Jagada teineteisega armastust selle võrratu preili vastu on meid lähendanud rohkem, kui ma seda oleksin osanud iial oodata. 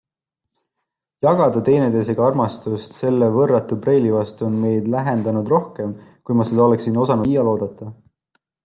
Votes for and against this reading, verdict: 2, 0, accepted